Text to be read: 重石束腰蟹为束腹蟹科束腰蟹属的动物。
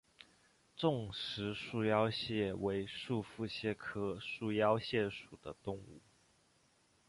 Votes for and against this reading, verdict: 2, 0, accepted